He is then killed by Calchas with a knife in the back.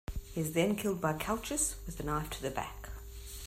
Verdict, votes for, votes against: rejected, 0, 2